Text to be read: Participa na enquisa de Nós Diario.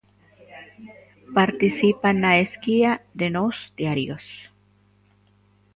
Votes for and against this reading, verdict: 0, 2, rejected